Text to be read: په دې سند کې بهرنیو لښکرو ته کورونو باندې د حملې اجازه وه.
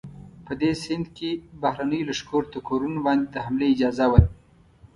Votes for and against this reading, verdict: 2, 0, accepted